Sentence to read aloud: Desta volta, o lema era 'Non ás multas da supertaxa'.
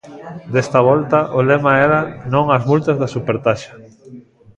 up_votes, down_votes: 2, 0